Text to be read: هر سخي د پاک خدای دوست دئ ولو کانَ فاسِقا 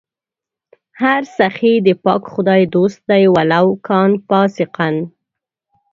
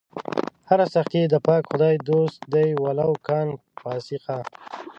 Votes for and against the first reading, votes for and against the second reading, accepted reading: 1, 2, 2, 0, second